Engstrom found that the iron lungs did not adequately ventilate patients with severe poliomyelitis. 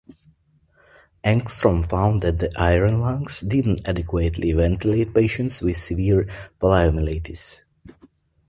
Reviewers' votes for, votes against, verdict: 1, 2, rejected